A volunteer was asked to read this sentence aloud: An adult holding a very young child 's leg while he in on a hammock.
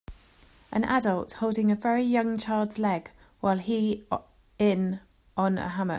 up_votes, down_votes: 1, 2